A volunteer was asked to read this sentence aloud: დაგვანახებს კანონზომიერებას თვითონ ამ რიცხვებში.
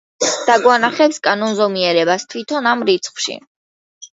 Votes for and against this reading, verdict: 1, 2, rejected